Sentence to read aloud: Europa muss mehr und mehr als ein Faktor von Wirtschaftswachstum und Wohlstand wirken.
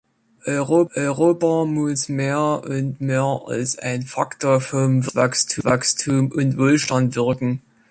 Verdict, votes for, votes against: rejected, 0, 2